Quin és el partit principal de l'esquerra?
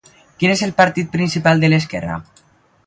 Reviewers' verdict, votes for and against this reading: accepted, 2, 0